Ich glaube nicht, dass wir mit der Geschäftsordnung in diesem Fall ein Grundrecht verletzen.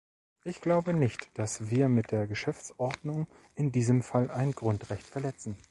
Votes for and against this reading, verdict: 2, 0, accepted